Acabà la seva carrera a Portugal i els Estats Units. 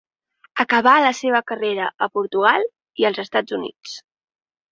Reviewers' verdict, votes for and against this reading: accepted, 3, 0